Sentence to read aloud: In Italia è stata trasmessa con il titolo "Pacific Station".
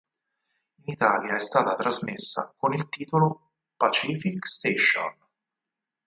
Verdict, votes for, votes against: rejected, 2, 4